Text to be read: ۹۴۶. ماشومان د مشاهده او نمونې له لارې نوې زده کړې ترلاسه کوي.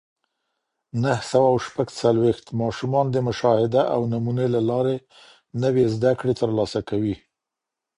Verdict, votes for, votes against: rejected, 0, 2